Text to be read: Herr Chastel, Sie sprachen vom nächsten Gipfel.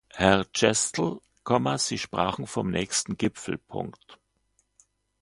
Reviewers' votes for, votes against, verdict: 2, 0, accepted